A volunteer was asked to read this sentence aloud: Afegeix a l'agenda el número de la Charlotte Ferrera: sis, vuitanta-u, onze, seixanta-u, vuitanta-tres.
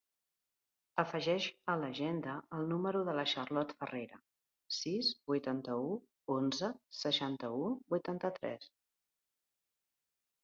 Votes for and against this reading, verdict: 4, 0, accepted